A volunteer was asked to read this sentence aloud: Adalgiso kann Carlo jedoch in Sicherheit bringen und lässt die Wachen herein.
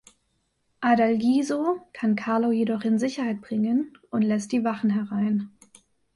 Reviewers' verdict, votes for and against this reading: accepted, 2, 0